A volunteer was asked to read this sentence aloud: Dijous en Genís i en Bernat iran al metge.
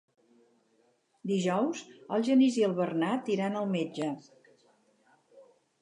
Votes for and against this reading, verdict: 2, 4, rejected